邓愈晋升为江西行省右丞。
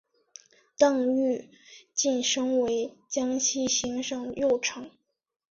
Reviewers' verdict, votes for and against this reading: accepted, 5, 0